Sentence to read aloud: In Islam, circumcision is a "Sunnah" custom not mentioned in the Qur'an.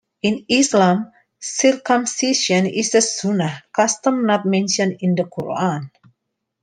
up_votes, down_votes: 2, 1